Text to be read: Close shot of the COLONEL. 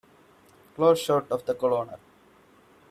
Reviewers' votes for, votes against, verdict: 0, 2, rejected